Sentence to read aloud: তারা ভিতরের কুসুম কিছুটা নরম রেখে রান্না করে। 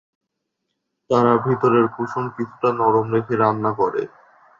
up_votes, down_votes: 2, 0